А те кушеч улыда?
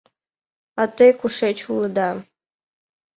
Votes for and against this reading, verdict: 2, 0, accepted